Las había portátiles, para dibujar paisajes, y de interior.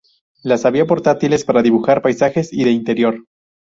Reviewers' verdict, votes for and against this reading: accepted, 4, 0